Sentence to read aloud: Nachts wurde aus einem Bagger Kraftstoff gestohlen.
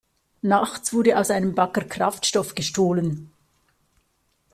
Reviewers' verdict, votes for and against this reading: accepted, 2, 0